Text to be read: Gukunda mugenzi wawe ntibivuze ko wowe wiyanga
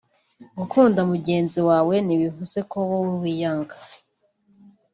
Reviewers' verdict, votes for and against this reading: accepted, 3, 1